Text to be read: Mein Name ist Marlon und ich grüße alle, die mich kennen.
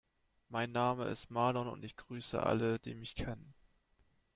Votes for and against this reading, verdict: 2, 0, accepted